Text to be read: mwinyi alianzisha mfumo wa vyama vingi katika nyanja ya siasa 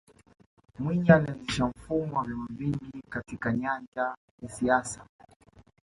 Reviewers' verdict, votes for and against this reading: rejected, 0, 2